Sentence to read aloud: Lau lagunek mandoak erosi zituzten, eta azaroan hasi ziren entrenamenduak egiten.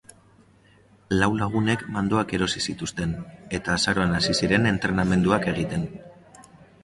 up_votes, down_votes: 3, 0